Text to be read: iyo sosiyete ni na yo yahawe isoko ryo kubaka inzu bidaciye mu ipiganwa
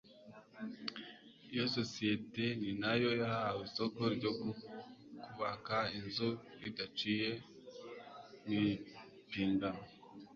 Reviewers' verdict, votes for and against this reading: accepted, 2, 0